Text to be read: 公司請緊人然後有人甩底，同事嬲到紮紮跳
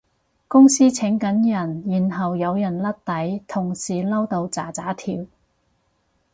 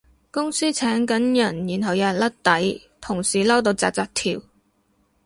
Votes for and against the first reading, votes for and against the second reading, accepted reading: 2, 4, 4, 0, second